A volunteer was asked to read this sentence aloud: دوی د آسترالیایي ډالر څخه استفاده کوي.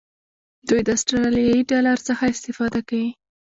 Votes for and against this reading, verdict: 0, 2, rejected